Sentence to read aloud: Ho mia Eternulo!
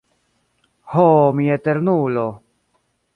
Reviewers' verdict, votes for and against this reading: accepted, 2, 0